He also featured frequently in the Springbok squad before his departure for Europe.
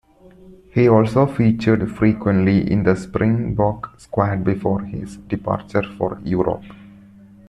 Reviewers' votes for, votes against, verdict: 2, 0, accepted